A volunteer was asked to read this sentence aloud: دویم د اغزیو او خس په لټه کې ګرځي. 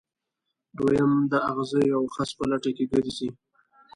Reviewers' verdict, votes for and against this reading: rejected, 0, 2